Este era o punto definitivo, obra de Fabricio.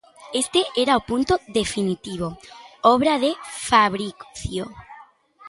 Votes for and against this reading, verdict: 0, 2, rejected